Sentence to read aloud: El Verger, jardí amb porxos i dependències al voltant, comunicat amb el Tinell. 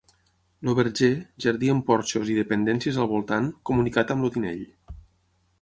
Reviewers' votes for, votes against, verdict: 3, 6, rejected